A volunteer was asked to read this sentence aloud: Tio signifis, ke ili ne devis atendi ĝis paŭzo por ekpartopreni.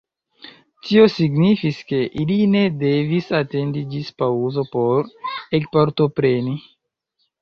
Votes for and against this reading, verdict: 1, 3, rejected